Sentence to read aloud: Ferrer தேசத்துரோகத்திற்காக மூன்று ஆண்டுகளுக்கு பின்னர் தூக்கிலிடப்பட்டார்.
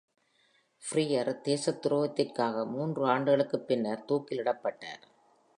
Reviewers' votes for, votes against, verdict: 2, 0, accepted